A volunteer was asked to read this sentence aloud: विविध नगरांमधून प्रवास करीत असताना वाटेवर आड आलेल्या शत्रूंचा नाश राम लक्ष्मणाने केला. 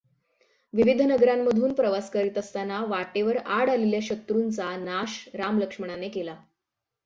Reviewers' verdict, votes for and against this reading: accepted, 6, 0